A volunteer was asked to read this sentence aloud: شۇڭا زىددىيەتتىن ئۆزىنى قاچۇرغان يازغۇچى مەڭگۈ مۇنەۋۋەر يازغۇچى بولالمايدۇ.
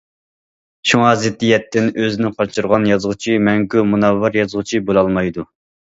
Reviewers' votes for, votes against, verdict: 2, 0, accepted